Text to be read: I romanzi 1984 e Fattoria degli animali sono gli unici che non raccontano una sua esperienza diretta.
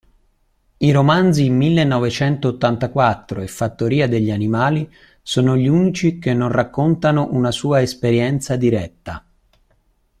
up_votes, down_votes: 0, 2